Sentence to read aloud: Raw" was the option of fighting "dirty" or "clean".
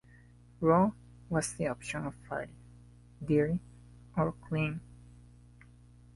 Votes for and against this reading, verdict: 1, 2, rejected